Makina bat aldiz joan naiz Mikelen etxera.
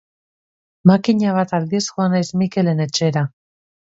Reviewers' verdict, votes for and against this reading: accepted, 3, 0